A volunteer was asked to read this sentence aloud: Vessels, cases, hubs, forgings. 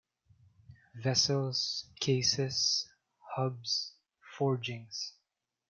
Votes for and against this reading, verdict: 2, 0, accepted